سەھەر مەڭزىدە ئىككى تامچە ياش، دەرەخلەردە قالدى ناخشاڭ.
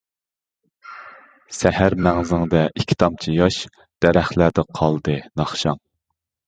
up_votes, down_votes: 0, 2